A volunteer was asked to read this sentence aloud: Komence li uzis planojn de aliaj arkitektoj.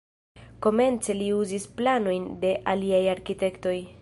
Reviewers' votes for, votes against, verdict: 0, 2, rejected